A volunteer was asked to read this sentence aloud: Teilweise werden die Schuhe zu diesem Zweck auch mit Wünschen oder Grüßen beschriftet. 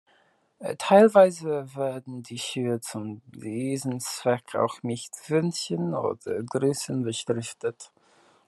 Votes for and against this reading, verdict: 0, 2, rejected